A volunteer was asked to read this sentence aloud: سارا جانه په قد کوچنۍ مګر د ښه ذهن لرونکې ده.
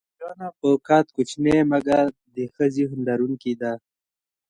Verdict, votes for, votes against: accepted, 2, 1